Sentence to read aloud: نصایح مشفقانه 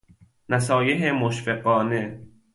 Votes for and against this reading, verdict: 2, 0, accepted